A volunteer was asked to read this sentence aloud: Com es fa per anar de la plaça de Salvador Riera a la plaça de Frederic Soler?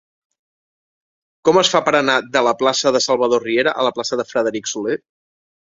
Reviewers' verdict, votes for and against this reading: accepted, 2, 0